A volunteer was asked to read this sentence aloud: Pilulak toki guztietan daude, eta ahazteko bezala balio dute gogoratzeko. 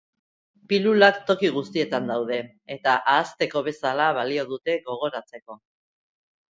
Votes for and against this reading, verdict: 2, 0, accepted